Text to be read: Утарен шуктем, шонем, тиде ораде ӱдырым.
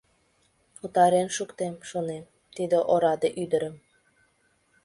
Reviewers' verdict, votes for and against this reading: accepted, 3, 1